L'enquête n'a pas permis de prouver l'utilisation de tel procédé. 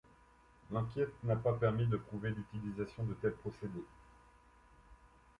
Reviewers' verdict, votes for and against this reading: accepted, 2, 0